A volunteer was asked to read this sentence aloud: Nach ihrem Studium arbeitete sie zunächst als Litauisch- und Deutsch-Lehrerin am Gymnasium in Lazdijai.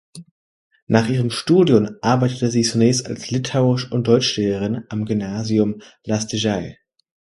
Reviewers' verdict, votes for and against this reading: rejected, 0, 2